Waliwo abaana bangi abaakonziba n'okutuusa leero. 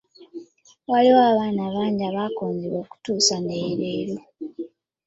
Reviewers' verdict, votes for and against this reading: accepted, 2, 1